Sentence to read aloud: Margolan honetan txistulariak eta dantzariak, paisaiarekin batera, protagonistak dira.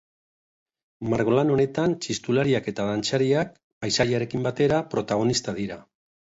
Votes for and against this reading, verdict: 1, 2, rejected